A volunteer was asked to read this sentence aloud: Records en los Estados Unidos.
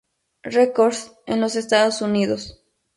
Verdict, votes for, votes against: accepted, 2, 0